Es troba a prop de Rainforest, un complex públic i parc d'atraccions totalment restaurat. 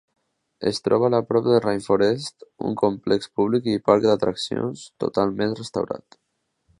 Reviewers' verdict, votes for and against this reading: rejected, 0, 2